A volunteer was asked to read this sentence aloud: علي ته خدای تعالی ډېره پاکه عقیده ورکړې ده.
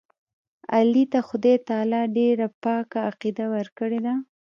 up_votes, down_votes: 2, 0